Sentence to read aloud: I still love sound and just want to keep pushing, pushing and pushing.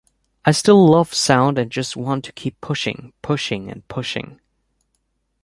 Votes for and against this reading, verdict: 3, 0, accepted